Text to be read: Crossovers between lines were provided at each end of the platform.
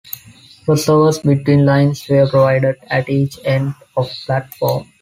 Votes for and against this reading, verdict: 0, 2, rejected